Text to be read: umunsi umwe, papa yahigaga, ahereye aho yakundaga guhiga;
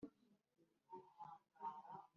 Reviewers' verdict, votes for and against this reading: rejected, 1, 2